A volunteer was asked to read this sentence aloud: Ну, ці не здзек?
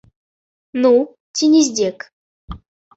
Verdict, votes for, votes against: accepted, 2, 0